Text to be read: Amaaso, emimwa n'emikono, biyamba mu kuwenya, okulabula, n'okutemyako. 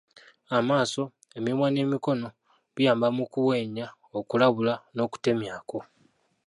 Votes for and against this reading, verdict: 0, 2, rejected